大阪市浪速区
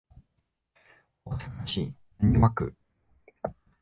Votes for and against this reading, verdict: 0, 2, rejected